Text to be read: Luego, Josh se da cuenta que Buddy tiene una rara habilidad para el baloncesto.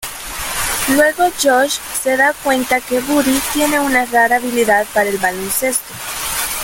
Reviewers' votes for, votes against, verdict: 1, 2, rejected